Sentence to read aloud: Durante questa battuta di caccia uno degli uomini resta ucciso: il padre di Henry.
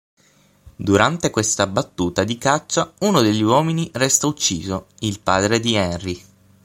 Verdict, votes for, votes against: accepted, 6, 0